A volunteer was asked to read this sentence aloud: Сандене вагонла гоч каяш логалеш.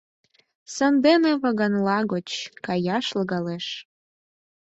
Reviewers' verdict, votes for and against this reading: rejected, 2, 4